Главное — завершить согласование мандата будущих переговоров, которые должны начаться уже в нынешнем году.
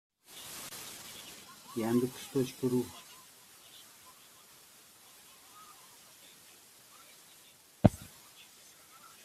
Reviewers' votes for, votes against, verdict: 0, 2, rejected